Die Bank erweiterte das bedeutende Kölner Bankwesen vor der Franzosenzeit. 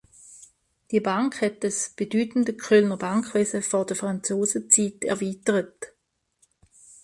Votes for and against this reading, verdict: 0, 2, rejected